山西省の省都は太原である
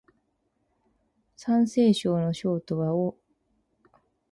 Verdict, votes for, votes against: rejected, 10, 12